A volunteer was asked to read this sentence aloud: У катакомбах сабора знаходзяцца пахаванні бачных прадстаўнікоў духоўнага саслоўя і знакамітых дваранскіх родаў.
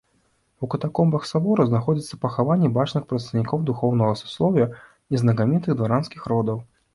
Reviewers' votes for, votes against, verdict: 2, 0, accepted